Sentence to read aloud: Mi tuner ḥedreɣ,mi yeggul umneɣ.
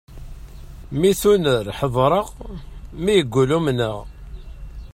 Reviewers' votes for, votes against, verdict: 2, 1, accepted